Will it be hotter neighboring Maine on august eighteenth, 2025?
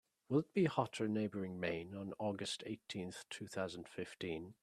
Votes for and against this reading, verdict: 0, 2, rejected